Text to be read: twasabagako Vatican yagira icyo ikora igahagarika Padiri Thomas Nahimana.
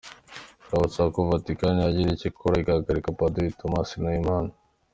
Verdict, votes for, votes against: accepted, 2, 0